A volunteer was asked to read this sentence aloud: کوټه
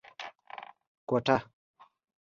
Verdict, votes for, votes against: accepted, 2, 0